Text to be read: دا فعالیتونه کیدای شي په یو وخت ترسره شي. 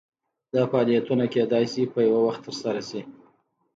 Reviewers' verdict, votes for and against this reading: accepted, 2, 0